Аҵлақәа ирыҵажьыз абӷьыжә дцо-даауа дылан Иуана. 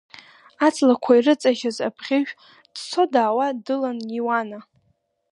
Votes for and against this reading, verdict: 2, 0, accepted